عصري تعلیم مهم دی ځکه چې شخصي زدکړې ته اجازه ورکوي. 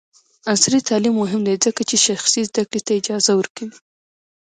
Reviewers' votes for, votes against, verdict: 0, 2, rejected